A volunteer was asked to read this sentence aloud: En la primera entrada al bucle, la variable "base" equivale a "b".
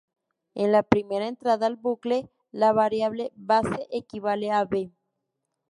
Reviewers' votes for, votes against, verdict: 0, 2, rejected